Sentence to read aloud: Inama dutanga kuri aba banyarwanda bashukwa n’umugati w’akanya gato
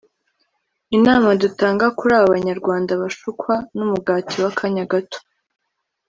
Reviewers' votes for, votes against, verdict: 3, 0, accepted